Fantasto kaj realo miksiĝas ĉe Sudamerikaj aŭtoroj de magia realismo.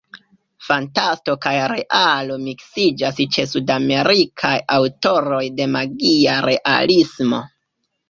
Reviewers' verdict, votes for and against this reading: accepted, 2, 1